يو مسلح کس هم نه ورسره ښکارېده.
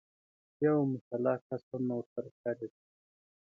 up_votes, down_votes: 2, 0